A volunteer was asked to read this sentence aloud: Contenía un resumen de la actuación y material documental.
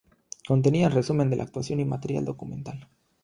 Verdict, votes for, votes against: rejected, 0, 3